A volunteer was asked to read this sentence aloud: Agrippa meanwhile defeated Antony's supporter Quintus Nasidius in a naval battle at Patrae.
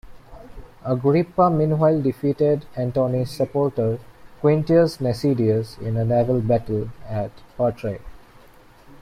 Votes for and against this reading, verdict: 2, 1, accepted